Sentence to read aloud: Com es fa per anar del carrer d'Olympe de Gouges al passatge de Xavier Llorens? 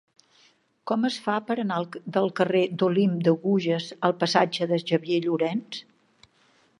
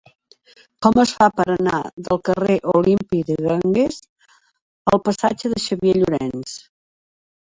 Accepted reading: first